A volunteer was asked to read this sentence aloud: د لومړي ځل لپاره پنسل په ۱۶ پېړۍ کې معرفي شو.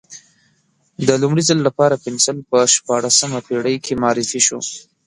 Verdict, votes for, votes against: rejected, 0, 2